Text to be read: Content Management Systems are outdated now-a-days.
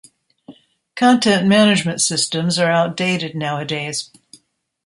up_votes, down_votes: 2, 0